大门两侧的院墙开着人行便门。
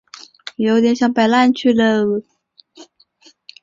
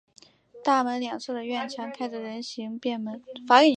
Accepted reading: second